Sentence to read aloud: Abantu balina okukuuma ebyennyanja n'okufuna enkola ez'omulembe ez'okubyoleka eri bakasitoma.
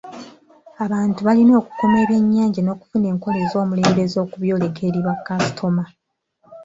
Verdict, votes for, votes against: accepted, 2, 0